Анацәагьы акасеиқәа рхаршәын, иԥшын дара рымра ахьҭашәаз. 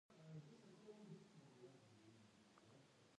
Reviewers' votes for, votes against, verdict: 0, 2, rejected